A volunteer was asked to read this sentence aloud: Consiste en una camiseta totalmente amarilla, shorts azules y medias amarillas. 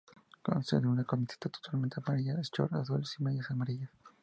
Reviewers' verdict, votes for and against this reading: rejected, 0, 4